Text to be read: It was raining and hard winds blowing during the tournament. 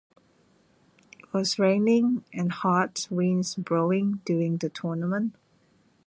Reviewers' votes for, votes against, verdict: 0, 2, rejected